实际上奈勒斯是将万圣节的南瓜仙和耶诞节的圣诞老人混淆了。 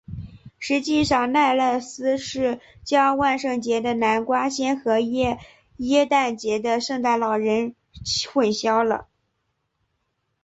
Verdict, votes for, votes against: rejected, 0, 2